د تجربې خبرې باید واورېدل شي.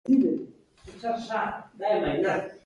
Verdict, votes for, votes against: rejected, 0, 2